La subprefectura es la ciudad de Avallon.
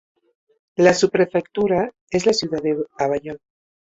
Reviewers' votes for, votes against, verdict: 0, 2, rejected